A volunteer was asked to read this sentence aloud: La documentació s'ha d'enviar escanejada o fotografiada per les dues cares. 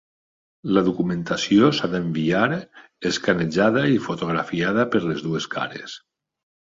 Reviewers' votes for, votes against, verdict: 1, 2, rejected